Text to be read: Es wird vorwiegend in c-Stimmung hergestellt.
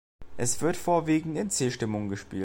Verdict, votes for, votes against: rejected, 0, 2